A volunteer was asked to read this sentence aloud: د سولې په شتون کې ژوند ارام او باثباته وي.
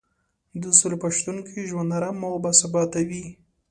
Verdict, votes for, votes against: accepted, 3, 0